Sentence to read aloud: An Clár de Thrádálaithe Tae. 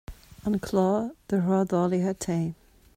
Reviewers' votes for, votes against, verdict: 0, 2, rejected